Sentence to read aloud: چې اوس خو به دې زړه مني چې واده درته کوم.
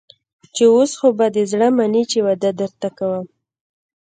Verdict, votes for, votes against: accepted, 2, 0